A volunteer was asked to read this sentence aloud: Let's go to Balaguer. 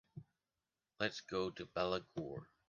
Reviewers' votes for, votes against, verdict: 3, 0, accepted